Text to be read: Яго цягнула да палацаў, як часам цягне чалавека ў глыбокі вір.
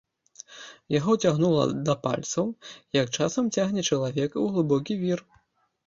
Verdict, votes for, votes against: rejected, 1, 3